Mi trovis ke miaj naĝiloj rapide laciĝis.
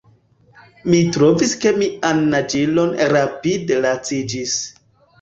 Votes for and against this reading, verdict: 1, 2, rejected